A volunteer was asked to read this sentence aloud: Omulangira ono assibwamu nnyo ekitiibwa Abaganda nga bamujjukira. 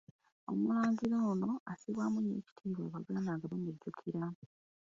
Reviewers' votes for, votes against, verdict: 1, 2, rejected